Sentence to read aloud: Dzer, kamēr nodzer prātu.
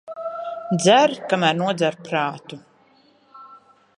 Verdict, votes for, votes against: rejected, 1, 2